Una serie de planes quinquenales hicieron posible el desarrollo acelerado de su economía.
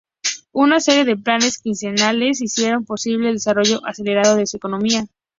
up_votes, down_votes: 2, 0